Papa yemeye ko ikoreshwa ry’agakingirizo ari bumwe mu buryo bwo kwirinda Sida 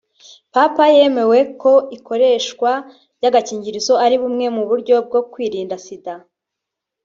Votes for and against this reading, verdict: 1, 3, rejected